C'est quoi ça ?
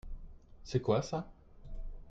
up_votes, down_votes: 3, 0